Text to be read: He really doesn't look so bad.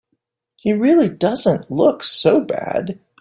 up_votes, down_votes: 4, 0